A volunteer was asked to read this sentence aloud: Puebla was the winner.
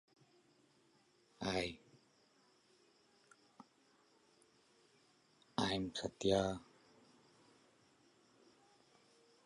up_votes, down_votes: 0, 2